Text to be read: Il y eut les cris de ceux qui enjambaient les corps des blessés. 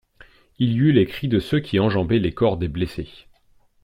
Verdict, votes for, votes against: accepted, 2, 0